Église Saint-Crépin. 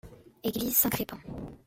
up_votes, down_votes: 2, 1